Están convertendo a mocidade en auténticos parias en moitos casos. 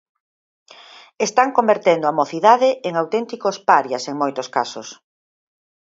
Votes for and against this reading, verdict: 6, 0, accepted